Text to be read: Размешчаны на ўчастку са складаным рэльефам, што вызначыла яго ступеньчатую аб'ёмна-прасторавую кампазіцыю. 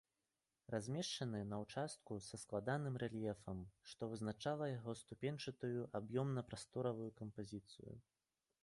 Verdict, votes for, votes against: accepted, 3, 2